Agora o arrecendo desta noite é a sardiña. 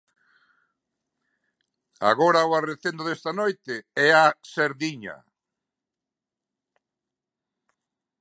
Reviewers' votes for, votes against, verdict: 1, 2, rejected